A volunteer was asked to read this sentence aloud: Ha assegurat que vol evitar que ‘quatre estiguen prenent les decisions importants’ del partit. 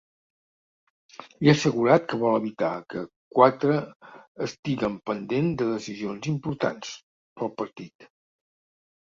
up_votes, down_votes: 0, 2